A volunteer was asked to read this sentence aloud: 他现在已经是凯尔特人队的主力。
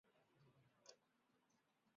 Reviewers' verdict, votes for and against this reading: rejected, 1, 2